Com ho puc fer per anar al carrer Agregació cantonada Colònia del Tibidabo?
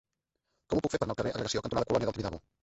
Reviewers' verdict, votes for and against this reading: rejected, 1, 3